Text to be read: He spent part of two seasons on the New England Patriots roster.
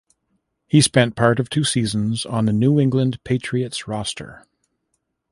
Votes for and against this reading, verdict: 1, 2, rejected